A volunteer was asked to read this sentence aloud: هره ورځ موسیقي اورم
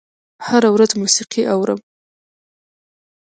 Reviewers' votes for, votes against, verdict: 2, 0, accepted